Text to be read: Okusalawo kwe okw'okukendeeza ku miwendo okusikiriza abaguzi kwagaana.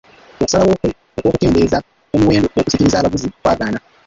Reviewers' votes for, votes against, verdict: 1, 2, rejected